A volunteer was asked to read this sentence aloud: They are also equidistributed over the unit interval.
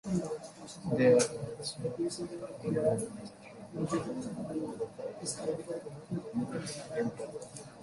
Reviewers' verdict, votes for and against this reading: rejected, 0, 2